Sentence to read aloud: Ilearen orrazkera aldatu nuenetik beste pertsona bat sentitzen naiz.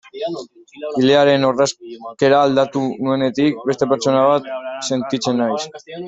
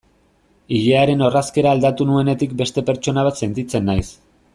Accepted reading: second